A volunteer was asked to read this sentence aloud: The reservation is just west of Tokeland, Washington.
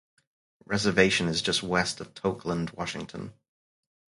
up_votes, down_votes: 0, 4